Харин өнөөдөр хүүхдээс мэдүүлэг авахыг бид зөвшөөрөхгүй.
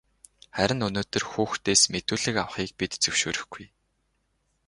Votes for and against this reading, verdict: 6, 0, accepted